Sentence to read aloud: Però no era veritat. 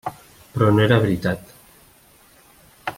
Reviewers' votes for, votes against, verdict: 3, 0, accepted